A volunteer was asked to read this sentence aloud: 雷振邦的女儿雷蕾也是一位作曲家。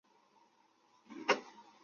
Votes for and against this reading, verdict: 1, 3, rejected